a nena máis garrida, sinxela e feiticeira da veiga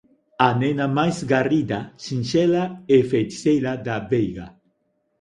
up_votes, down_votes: 2, 0